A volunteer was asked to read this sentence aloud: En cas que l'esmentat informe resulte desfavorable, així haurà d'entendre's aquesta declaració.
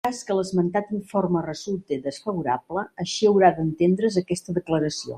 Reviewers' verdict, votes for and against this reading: rejected, 0, 2